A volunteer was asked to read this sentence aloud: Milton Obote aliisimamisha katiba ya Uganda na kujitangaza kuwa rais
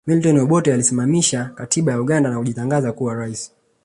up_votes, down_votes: 2, 0